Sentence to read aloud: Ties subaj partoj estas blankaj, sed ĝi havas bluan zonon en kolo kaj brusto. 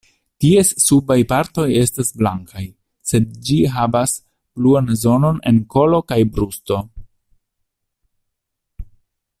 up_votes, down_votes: 2, 0